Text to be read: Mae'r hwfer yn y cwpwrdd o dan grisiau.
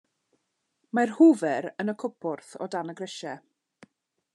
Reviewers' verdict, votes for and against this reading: rejected, 0, 2